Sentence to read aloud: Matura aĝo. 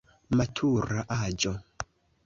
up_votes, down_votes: 2, 1